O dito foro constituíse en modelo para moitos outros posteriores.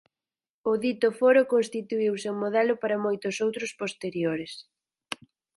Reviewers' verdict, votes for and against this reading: accepted, 4, 0